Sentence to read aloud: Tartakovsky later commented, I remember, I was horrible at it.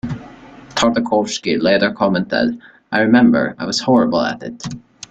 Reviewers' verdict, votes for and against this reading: accepted, 2, 0